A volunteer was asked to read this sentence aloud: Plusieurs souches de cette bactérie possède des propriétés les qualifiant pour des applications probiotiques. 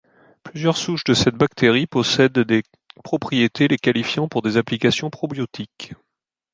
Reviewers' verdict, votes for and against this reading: accepted, 2, 0